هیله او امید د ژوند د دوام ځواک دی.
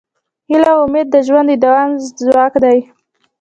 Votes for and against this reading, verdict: 0, 2, rejected